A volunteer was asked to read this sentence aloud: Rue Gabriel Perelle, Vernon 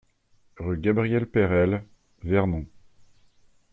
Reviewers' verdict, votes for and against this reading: accepted, 2, 1